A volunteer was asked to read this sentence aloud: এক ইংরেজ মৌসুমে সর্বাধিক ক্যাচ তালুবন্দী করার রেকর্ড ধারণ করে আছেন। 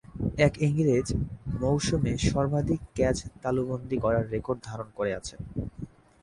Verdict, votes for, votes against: accepted, 3, 0